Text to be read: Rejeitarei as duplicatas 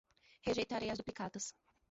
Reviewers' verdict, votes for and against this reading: accepted, 2, 1